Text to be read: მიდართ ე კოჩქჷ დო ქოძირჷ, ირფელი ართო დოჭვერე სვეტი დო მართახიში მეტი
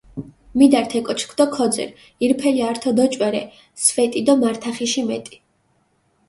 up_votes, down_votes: 2, 0